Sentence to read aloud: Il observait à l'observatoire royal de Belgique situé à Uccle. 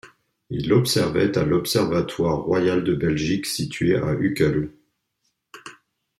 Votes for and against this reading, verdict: 0, 2, rejected